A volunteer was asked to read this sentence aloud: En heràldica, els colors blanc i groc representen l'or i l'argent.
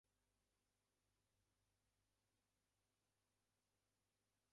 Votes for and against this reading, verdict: 0, 4, rejected